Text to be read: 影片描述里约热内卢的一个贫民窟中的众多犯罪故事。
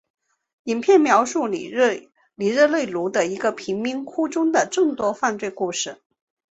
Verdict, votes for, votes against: rejected, 0, 4